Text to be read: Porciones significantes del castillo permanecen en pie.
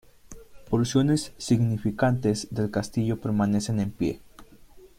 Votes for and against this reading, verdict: 2, 0, accepted